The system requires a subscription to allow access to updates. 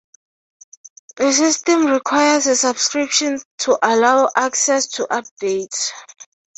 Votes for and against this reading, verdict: 3, 0, accepted